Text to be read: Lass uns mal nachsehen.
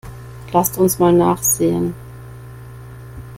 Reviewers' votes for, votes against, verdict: 0, 2, rejected